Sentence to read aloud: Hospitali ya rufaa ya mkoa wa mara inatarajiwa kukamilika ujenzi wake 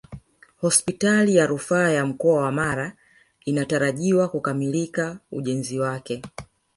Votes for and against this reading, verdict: 2, 3, rejected